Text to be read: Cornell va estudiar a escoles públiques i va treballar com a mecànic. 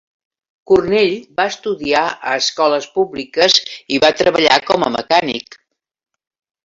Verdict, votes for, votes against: accepted, 3, 0